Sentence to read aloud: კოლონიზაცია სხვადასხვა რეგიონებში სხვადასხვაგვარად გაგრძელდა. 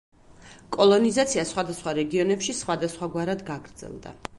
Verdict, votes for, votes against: accepted, 2, 0